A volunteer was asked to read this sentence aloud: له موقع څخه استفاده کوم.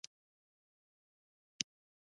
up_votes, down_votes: 2, 0